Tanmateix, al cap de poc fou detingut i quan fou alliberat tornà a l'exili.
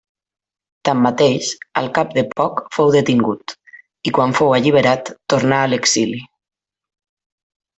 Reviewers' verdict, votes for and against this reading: accepted, 3, 0